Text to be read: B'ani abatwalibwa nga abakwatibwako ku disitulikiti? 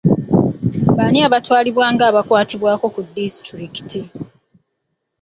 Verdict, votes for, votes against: rejected, 1, 2